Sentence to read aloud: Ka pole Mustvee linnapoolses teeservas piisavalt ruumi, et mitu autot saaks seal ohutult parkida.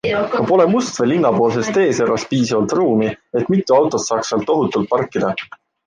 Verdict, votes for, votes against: accepted, 2, 0